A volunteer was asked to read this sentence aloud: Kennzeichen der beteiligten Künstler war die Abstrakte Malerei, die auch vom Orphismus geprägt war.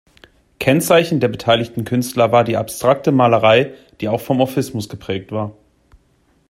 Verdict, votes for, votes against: accepted, 2, 0